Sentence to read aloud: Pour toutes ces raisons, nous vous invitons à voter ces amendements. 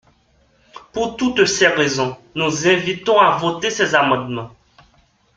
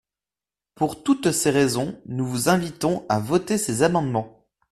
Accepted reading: second